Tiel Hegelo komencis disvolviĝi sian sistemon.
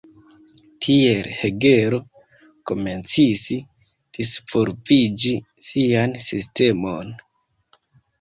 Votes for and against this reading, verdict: 2, 1, accepted